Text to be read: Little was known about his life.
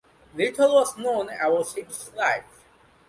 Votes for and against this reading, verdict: 1, 2, rejected